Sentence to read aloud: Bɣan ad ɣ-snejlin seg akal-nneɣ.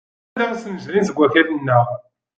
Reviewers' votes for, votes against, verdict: 0, 2, rejected